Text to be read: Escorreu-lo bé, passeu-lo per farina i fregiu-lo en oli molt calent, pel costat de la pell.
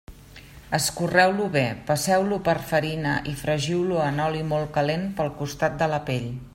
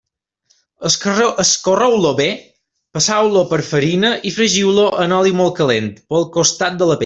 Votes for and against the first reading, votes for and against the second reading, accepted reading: 3, 0, 1, 2, first